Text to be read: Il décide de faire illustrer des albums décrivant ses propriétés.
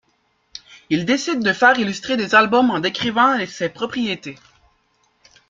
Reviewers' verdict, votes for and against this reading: rejected, 1, 3